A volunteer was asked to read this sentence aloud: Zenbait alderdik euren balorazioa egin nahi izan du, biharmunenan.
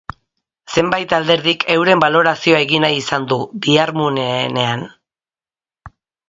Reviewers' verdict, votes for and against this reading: rejected, 0, 2